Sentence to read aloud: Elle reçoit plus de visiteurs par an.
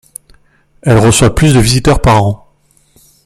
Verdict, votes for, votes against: accepted, 2, 0